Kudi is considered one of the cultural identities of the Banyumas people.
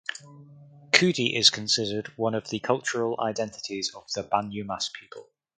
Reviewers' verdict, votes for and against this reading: accepted, 4, 0